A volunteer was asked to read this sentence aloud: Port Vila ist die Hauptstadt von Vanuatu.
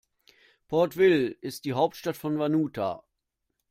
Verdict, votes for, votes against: rejected, 0, 2